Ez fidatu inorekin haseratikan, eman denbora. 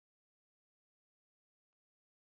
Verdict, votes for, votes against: rejected, 0, 2